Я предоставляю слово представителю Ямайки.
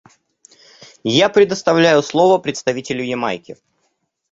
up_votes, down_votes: 2, 0